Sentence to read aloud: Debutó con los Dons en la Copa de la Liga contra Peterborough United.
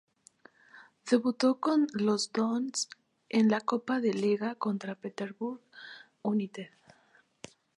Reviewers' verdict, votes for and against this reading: rejected, 0, 2